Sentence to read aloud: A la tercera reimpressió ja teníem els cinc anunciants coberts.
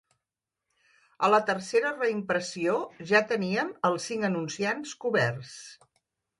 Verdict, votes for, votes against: rejected, 0, 2